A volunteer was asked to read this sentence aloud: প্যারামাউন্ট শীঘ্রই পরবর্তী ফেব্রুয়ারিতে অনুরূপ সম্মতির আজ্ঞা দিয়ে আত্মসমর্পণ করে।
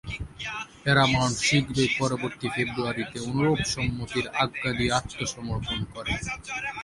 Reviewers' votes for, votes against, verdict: 2, 4, rejected